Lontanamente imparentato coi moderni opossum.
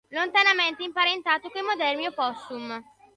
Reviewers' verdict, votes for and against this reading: accepted, 2, 0